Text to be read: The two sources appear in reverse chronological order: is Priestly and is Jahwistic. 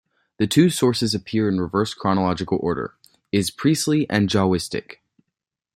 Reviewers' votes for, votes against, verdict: 1, 2, rejected